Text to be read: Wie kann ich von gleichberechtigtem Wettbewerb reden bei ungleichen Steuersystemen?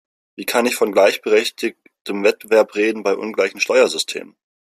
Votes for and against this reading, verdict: 1, 2, rejected